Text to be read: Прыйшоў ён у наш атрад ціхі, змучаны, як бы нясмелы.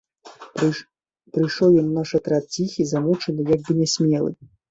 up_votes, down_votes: 0, 2